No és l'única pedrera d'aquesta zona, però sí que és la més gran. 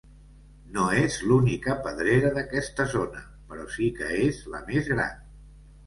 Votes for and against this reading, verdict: 2, 0, accepted